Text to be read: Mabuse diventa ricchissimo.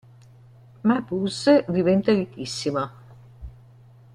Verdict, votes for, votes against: rejected, 1, 2